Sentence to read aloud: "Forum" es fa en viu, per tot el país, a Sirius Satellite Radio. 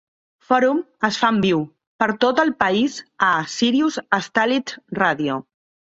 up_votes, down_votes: 0, 2